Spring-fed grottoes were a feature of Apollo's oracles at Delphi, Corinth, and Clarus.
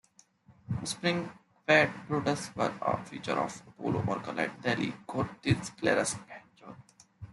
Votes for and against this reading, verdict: 1, 2, rejected